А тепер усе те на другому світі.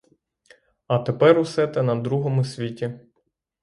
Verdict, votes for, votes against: rejected, 3, 3